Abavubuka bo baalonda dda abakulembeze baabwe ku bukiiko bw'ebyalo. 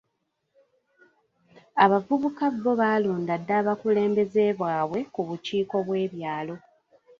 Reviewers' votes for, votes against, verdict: 0, 2, rejected